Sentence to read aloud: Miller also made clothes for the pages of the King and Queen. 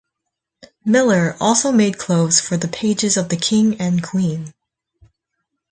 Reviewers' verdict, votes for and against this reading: accepted, 4, 0